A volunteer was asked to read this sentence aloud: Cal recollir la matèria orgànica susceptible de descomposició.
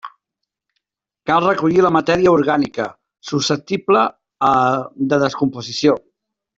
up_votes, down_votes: 1, 2